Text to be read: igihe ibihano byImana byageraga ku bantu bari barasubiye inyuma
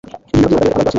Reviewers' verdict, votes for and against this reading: rejected, 1, 2